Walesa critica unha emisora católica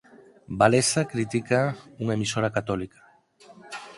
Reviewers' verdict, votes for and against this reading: rejected, 2, 4